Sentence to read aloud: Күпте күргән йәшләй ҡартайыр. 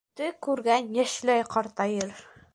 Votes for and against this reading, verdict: 1, 2, rejected